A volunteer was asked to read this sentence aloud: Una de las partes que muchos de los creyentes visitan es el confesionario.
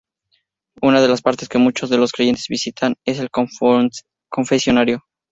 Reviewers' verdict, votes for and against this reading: rejected, 0, 2